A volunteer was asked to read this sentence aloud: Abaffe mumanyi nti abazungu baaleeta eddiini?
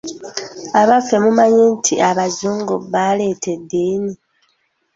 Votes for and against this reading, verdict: 2, 0, accepted